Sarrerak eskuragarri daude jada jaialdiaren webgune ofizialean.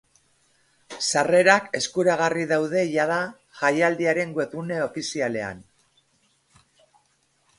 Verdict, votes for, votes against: accepted, 2, 0